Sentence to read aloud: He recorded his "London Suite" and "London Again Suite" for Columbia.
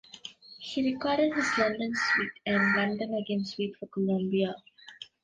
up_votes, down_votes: 0, 3